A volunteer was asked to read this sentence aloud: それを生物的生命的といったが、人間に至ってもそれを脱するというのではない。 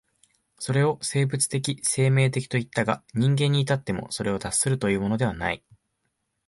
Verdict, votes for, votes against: accepted, 6, 0